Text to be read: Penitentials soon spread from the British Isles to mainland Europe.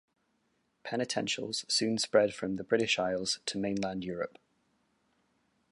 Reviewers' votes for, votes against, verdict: 2, 0, accepted